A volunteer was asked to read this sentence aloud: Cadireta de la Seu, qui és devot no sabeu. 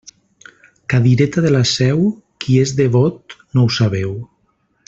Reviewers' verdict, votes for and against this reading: rejected, 0, 2